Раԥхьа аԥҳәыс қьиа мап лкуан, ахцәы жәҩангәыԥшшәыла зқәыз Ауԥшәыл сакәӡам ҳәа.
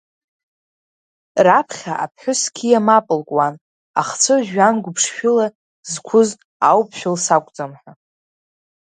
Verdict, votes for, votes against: accepted, 2, 0